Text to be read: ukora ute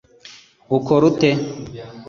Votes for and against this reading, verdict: 2, 0, accepted